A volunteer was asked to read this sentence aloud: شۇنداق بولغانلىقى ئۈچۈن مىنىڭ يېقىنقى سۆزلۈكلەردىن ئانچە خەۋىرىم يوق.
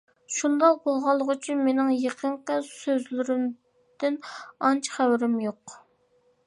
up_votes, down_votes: 0, 2